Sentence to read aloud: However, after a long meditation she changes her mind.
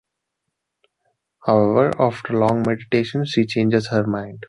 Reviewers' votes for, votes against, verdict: 1, 2, rejected